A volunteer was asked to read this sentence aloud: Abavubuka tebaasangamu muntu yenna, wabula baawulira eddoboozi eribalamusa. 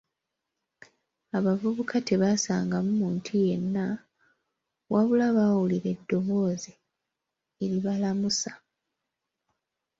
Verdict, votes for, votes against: accepted, 2, 0